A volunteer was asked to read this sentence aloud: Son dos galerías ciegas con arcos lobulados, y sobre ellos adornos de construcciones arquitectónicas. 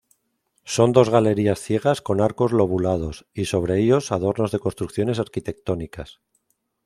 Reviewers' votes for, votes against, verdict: 2, 0, accepted